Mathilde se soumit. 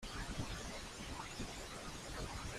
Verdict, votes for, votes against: rejected, 0, 2